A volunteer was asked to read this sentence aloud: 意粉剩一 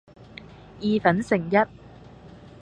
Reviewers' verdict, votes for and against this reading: accepted, 2, 0